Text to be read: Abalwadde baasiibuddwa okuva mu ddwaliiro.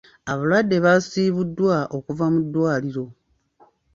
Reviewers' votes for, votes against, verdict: 2, 1, accepted